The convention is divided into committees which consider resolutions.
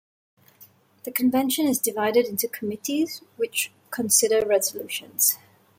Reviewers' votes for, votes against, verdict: 2, 0, accepted